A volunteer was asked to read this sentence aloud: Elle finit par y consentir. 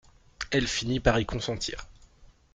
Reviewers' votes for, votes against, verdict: 2, 0, accepted